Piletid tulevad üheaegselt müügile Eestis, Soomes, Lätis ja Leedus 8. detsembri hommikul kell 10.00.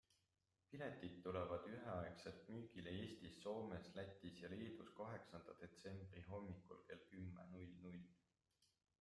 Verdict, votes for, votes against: rejected, 0, 2